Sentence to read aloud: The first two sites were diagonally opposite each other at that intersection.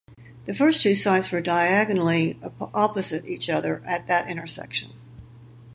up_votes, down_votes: 2, 2